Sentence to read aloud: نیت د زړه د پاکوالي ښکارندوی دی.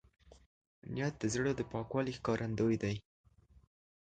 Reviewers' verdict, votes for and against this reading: accepted, 2, 0